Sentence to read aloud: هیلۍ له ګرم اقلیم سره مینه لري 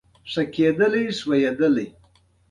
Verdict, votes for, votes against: rejected, 1, 2